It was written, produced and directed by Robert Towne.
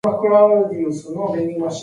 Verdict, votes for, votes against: rejected, 0, 2